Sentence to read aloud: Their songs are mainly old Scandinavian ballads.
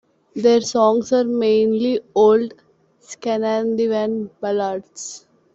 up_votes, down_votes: 0, 2